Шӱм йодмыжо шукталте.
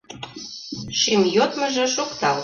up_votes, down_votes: 0, 2